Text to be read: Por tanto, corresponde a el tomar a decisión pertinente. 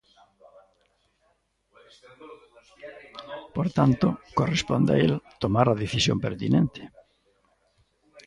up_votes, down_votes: 1, 2